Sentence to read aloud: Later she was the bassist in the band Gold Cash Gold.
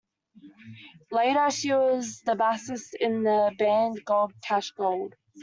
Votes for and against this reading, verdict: 0, 2, rejected